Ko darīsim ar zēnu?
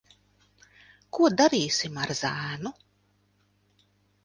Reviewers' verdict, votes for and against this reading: accepted, 2, 0